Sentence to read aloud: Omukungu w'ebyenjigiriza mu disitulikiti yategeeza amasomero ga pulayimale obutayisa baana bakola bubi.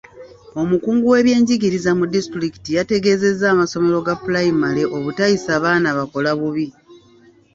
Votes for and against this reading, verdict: 0, 2, rejected